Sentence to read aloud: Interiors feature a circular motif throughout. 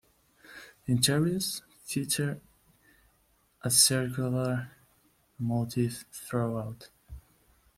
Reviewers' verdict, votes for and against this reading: accepted, 2, 1